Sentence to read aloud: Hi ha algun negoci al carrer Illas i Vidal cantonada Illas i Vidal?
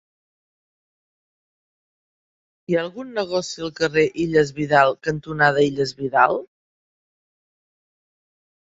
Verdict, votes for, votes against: rejected, 1, 2